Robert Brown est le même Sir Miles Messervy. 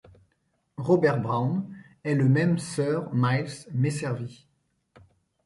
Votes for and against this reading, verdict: 2, 0, accepted